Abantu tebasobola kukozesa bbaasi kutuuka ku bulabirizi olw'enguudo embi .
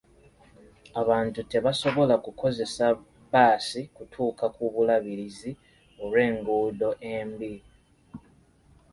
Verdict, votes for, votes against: accepted, 2, 0